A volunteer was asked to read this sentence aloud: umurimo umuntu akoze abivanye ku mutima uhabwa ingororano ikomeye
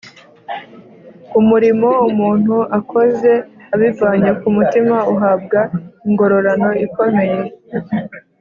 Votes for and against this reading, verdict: 5, 0, accepted